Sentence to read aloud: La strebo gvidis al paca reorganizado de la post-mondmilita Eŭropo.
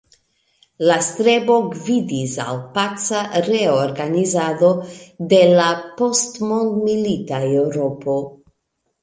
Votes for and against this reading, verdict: 3, 2, accepted